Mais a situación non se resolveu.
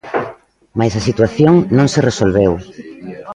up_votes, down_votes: 0, 2